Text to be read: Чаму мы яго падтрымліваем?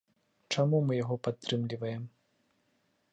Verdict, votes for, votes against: accepted, 2, 0